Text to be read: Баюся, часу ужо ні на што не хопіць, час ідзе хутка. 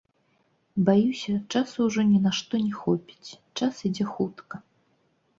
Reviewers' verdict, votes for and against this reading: rejected, 0, 3